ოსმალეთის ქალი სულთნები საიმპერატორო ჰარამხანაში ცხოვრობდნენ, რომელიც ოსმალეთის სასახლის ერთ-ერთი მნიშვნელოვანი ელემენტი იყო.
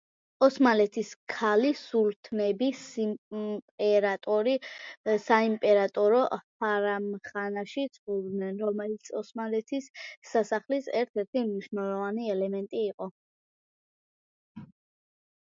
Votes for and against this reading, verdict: 0, 2, rejected